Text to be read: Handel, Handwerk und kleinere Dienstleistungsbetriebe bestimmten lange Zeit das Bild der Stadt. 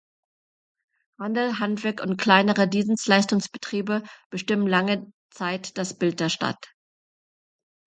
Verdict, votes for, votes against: rejected, 0, 2